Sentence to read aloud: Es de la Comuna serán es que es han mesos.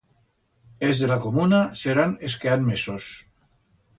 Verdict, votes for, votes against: rejected, 1, 2